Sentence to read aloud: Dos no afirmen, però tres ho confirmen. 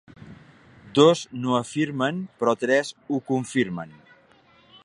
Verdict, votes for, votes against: accepted, 2, 0